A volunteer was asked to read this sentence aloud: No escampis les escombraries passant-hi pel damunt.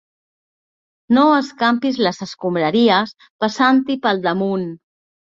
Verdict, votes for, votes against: accepted, 2, 0